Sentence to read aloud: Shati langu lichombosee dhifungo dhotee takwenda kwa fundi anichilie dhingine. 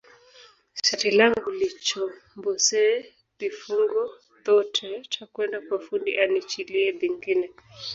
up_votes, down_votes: 1, 2